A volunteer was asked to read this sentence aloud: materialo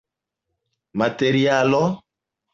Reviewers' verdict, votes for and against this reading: rejected, 0, 2